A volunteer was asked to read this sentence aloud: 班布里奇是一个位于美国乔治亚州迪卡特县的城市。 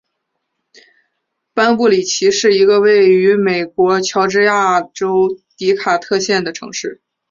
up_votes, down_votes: 5, 0